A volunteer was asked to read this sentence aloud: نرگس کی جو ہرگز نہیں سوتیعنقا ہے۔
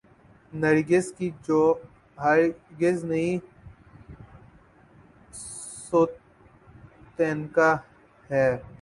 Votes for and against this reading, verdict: 3, 5, rejected